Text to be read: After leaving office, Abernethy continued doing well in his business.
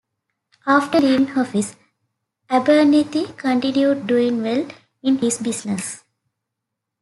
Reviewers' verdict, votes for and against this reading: accepted, 2, 1